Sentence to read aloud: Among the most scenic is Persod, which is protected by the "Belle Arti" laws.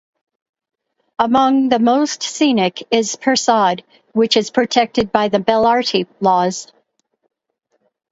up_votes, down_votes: 0, 2